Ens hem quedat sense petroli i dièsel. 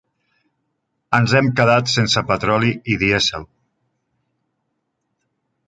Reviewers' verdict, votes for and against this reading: accepted, 3, 0